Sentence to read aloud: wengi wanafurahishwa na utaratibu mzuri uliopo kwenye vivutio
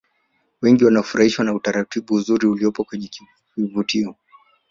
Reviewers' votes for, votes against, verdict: 1, 2, rejected